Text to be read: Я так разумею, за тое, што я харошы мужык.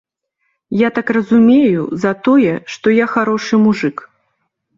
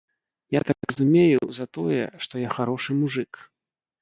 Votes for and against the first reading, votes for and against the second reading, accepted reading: 2, 0, 1, 2, first